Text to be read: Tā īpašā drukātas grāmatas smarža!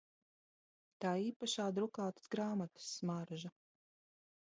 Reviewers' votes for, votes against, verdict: 2, 1, accepted